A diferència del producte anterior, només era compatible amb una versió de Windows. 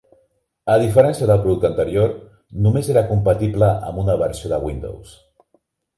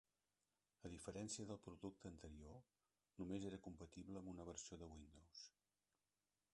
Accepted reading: first